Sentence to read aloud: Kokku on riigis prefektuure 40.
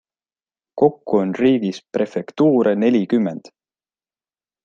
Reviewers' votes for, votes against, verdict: 0, 2, rejected